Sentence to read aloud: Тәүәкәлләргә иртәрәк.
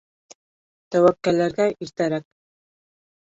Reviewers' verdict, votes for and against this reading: accepted, 3, 1